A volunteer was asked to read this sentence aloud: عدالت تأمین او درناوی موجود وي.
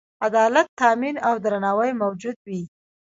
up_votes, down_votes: 0, 2